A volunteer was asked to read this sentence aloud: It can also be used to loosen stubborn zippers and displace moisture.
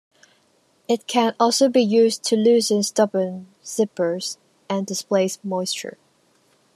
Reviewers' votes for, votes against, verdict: 2, 0, accepted